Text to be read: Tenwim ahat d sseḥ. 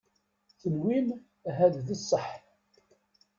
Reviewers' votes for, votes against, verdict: 2, 0, accepted